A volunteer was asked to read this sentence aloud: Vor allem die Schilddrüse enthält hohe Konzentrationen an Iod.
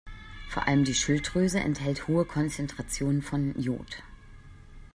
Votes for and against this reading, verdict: 0, 2, rejected